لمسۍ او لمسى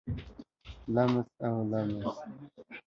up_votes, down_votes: 1, 2